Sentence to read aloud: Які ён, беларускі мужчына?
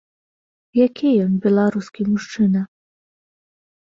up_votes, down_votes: 2, 0